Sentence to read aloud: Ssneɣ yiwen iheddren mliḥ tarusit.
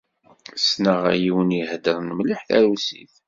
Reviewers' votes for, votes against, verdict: 2, 0, accepted